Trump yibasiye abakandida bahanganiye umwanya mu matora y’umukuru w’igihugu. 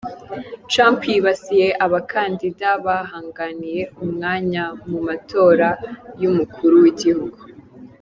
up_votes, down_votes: 2, 0